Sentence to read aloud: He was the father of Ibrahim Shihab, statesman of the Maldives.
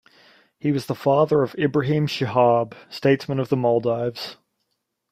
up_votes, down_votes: 1, 2